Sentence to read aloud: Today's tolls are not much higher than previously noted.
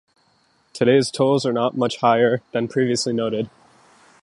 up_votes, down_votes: 2, 0